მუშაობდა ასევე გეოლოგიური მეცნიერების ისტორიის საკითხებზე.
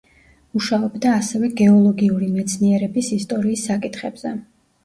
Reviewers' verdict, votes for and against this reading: accepted, 2, 1